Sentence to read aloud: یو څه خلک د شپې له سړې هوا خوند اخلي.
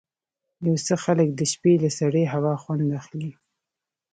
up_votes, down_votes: 3, 1